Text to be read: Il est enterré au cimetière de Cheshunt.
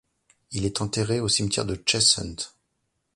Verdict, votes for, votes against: accepted, 2, 1